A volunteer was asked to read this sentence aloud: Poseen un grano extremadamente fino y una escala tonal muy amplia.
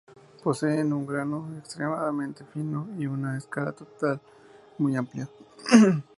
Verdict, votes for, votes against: rejected, 0, 2